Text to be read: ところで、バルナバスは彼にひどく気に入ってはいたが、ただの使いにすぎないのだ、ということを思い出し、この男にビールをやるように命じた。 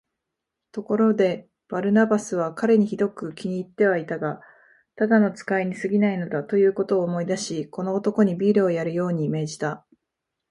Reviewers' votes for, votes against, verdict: 6, 0, accepted